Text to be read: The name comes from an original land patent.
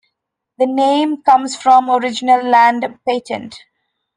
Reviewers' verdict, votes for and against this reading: rejected, 0, 2